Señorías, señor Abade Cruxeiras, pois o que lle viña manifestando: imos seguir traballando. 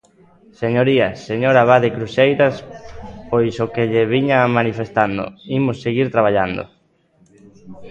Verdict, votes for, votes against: accepted, 2, 0